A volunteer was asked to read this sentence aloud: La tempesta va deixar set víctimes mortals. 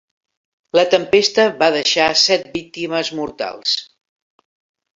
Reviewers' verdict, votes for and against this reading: accepted, 2, 0